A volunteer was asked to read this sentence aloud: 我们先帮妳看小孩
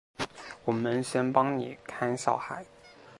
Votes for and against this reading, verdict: 3, 0, accepted